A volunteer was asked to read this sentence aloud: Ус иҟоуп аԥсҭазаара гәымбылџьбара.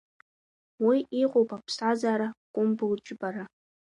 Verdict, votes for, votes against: rejected, 0, 2